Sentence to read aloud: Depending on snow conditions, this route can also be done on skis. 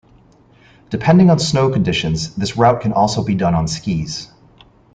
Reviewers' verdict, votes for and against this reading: accepted, 3, 0